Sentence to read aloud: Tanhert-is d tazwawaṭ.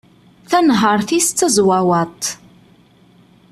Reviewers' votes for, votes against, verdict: 2, 0, accepted